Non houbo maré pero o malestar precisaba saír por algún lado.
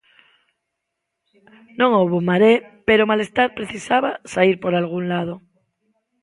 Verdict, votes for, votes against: rejected, 1, 2